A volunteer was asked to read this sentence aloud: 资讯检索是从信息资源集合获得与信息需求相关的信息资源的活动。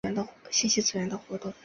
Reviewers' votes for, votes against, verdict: 2, 3, rejected